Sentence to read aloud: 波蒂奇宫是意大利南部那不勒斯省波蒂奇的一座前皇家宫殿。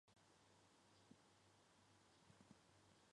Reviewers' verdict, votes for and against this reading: rejected, 0, 4